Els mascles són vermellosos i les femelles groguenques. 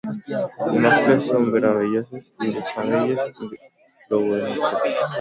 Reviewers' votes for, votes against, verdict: 0, 2, rejected